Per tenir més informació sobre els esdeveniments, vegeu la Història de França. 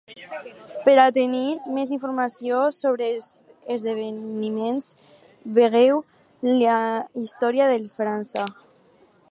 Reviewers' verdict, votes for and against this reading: rejected, 2, 4